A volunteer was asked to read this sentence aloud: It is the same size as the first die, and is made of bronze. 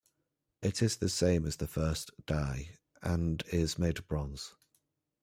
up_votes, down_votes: 0, 2